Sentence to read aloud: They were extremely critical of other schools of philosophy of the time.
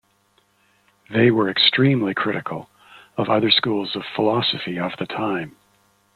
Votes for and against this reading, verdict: 2, 0, accepted